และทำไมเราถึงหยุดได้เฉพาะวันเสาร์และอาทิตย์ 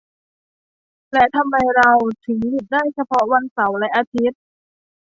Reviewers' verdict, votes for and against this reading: accepted, 2, 0